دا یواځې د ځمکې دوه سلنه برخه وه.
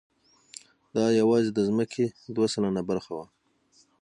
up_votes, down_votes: 3, 3